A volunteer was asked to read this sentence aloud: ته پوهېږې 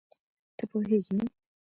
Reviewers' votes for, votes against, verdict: 1, 2, rejected